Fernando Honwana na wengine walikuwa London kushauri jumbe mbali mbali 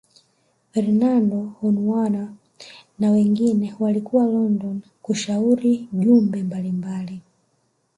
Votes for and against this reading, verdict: 1, 2, rejected